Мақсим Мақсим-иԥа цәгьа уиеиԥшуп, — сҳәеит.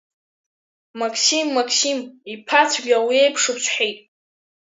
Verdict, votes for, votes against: rejected, 1, 3